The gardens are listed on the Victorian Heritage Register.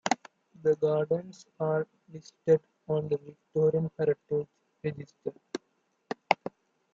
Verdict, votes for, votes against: rejected, 1, 2